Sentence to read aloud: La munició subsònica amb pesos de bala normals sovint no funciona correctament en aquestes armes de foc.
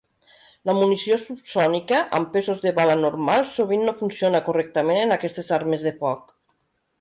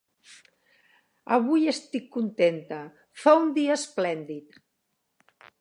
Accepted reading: first